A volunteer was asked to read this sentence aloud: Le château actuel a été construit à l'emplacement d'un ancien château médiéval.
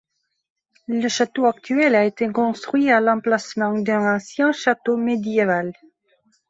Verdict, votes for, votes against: accepted, 2, 1